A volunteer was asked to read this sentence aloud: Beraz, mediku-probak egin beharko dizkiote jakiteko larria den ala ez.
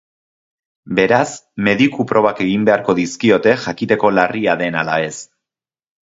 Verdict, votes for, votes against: accepted, 2, 0